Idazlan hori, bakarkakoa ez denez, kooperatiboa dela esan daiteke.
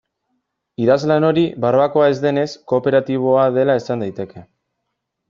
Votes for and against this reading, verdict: 0, 2, rejected